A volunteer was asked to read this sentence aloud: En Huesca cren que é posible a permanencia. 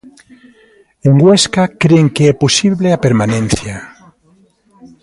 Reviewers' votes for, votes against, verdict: 2, 0, accepted